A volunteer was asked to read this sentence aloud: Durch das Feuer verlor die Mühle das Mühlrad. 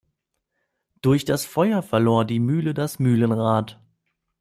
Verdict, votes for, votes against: rejected, 1, 2